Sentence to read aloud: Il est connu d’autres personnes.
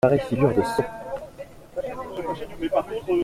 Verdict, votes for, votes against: rejected, 0, 2